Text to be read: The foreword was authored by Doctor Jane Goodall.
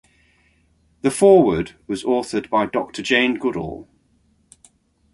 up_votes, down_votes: 3, 1